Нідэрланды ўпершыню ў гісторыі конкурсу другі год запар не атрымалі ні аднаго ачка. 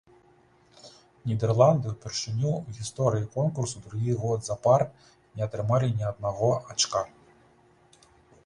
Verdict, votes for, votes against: rejected, 1, 2